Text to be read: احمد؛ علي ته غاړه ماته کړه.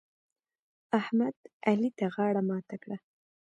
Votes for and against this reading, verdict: 2, 0, accepted